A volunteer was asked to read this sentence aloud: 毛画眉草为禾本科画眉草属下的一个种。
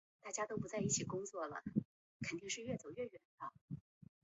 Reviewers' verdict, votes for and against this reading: rejected, 0, 2